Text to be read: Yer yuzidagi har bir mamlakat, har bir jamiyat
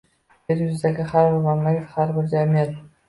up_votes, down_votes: 2, 1